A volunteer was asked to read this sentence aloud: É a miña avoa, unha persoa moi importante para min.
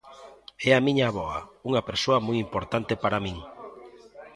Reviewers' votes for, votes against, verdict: 2, 0, accepted